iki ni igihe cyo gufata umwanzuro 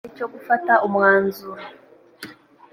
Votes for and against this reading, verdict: 1, 2, rejected